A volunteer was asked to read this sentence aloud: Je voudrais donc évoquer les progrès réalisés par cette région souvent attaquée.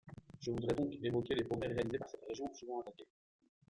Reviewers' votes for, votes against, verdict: 0, 2, rejected